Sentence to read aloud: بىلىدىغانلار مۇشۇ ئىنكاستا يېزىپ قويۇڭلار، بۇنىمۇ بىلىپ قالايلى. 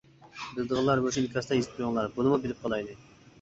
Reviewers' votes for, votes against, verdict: 1, 2, rejected